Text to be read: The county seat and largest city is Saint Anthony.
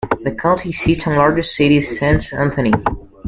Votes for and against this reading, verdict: 0, 2, rejected